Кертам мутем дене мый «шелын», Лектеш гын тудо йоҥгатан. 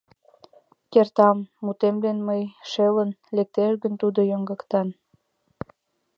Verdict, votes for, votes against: rejected, 1, 2